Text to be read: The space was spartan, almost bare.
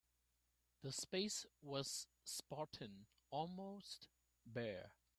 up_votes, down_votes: 1, 2